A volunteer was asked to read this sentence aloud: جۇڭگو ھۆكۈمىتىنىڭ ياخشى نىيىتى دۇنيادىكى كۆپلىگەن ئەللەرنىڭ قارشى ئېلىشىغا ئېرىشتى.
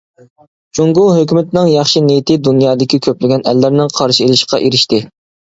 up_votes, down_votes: 1, 2